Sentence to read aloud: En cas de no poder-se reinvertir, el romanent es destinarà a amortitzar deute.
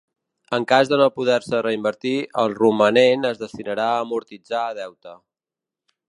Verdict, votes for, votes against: accepted, 3, 0